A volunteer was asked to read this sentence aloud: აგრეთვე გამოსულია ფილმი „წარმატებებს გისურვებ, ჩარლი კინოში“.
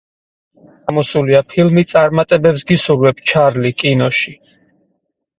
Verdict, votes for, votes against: rejected, 2, 4